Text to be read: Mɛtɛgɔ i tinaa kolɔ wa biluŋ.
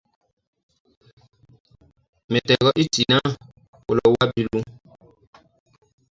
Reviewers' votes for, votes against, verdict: 0, 2, rejected